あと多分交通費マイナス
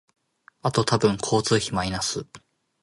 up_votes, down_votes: 3, 0